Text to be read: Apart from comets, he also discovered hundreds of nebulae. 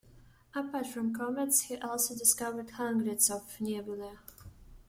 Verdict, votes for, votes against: rejected, 0, 2